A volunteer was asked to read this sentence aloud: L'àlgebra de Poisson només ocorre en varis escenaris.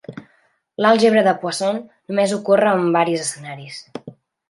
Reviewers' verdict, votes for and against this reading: accepted, 2, 0